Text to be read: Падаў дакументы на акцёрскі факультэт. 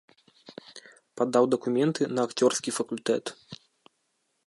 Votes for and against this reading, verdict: 2, 0, accepted